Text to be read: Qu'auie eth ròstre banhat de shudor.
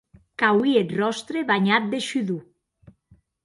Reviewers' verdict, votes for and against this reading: accepted, 2, 0